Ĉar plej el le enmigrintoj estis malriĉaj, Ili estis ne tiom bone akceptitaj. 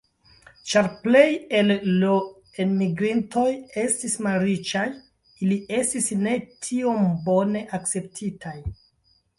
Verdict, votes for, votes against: rejected, 0, 2